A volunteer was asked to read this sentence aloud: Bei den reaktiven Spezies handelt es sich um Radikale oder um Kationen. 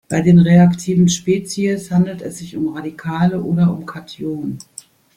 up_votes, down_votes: 2, 0